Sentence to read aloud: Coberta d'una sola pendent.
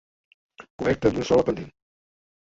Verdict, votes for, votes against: rejected, 0, 2